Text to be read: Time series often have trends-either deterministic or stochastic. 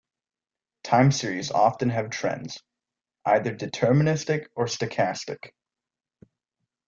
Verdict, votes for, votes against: rejected, 1, 2